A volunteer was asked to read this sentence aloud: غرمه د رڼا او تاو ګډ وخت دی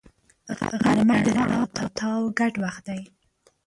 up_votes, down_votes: 0, 2